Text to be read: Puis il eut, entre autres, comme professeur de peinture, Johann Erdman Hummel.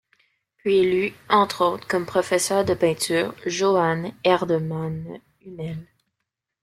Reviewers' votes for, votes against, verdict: 1, 2, rejected